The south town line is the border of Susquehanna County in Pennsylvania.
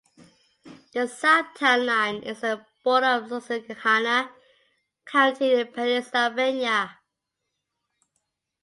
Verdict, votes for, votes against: rejected, 1, 2